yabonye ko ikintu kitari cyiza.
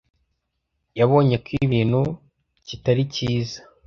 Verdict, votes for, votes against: rejected, 0, 2